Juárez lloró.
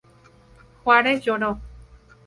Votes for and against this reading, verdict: 2, 0, accepted